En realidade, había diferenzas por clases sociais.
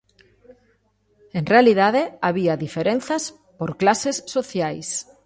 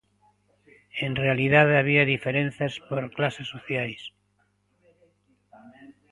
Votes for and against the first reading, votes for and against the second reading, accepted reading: 2, 0, 1, 2, first